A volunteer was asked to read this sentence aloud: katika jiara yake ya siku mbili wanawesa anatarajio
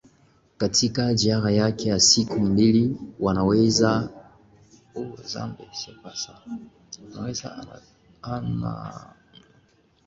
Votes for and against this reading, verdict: 0, 2, rejected